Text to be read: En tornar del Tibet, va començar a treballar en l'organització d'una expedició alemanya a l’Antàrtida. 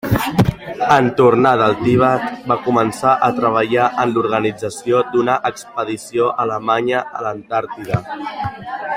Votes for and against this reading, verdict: 2, 1, accepted